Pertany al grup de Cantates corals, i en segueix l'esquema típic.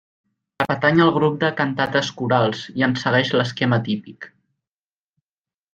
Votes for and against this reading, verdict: 1, 2, rejected